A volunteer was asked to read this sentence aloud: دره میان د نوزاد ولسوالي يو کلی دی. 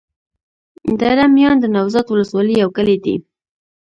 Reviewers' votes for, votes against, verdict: 2, 0, accepted